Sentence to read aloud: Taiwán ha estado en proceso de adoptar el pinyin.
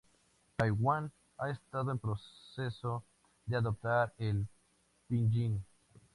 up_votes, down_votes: 2, 0